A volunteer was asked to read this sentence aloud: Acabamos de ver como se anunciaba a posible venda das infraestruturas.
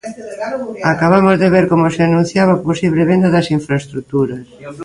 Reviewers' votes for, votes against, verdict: 0, 2, rejected